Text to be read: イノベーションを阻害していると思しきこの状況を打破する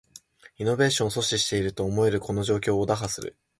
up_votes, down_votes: 0, 2